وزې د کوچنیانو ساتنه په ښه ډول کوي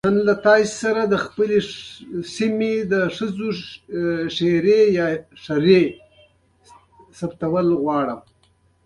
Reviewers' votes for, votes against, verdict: 0, 2, rejected